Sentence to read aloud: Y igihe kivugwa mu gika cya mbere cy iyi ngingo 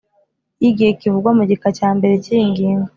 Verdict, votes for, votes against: accepted, 2, 0